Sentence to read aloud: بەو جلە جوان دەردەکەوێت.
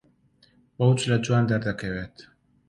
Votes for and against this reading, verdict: 2, 0, accepted